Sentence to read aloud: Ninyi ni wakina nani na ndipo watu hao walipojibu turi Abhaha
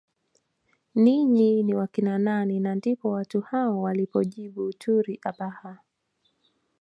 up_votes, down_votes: 2, 0